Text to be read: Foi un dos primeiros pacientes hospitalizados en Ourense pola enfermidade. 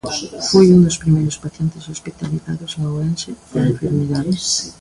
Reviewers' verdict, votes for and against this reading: rejected, 1, 2